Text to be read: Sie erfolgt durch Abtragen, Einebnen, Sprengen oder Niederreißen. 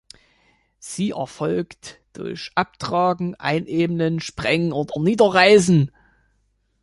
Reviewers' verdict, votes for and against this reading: accepted, 2, 1